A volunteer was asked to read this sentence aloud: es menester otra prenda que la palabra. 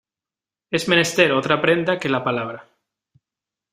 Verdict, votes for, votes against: accepted, 2, 0